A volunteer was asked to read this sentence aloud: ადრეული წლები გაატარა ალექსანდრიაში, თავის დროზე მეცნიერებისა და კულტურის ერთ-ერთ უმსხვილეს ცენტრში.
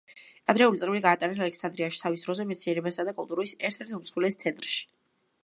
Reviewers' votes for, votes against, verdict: 0, 2, rejected